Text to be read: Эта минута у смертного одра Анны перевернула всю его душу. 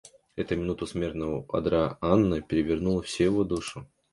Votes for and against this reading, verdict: 2, 0, accepted